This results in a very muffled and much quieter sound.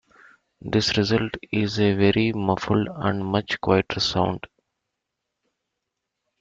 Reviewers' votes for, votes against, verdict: 1, 2, rejected